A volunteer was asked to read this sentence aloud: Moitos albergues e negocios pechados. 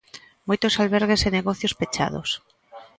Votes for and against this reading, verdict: 2, 0, accepted